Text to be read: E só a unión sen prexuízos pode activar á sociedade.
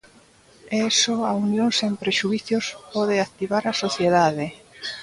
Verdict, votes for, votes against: rejected, 0, 2